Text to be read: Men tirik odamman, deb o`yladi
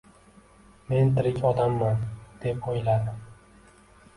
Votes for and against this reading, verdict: 1, 2, rejected